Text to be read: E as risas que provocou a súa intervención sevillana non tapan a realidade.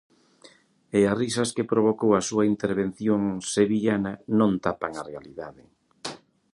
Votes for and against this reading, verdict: 2, 0, accepted